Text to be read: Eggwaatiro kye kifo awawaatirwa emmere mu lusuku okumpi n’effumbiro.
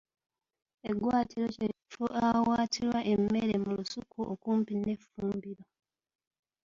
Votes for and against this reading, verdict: 0, 2, rejected